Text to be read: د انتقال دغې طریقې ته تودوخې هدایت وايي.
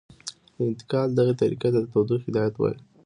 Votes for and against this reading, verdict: 2, 0, accepted